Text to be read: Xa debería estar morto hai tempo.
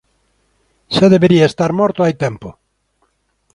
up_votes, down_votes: 2, 0